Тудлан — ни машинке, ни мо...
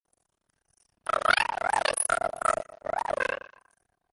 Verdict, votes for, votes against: rejected, 1, 2